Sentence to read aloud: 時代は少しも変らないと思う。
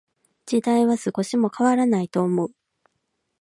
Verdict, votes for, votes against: rejected, 0, 2